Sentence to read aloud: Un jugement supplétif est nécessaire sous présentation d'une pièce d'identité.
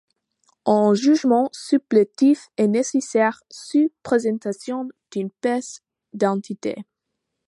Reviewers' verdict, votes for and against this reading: rejected, 0, 2